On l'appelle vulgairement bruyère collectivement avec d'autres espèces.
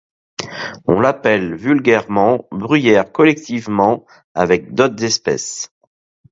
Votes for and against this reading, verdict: 2, 0, accepted